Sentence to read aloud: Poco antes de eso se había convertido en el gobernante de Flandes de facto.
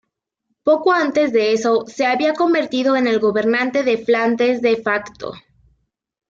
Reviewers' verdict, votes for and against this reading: accepted, 2, 1